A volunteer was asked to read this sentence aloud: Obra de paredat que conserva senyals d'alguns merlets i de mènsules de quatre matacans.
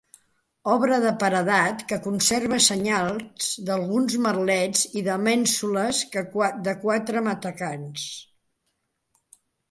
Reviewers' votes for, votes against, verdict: 2, 3, rejected